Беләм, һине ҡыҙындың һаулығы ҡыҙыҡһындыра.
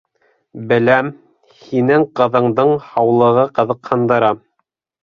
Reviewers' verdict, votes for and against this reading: rejected, 0, 2